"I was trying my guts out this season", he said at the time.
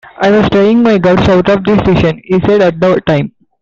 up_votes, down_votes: 2, 1